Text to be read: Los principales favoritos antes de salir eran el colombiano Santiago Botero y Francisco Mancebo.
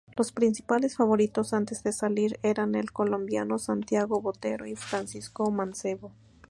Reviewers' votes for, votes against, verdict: 2, 0, accepted